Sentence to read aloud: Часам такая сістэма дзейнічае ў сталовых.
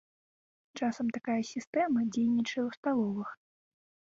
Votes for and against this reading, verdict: 2, 0, accepted